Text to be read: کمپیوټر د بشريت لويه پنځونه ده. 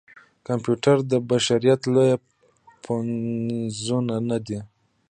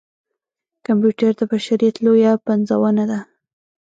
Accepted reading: second